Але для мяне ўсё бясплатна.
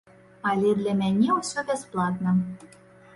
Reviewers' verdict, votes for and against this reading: accepted, 2, 0